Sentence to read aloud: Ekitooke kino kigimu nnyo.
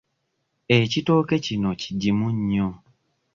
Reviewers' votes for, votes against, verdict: 2, 0, accepted